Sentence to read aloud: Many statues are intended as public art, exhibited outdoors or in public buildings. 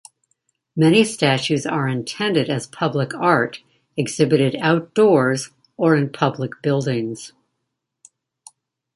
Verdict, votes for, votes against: accepted, 2, 1